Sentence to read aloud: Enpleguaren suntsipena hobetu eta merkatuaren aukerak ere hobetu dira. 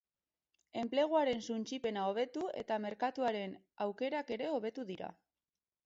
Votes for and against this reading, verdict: 4, 0, accepted